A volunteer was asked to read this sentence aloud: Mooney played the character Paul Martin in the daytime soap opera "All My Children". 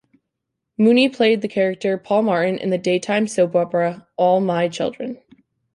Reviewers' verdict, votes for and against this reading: accepted, 2, 0